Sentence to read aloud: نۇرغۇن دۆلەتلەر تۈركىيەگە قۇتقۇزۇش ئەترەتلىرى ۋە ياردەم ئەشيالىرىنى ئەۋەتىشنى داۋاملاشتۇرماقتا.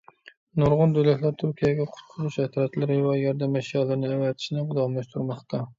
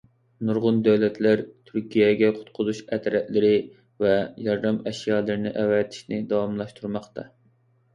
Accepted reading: second